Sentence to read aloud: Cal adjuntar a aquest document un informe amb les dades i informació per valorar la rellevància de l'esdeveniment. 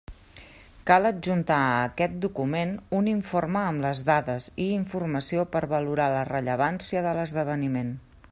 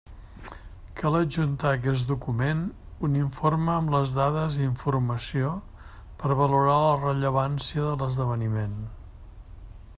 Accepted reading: first